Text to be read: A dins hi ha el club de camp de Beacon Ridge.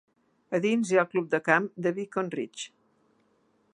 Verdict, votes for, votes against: rejected, 1, 2